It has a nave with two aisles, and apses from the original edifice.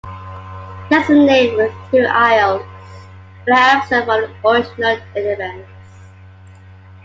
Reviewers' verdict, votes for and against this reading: rejected, 1, 2